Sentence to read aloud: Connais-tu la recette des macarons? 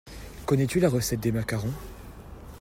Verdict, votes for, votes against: accepted, 2, 1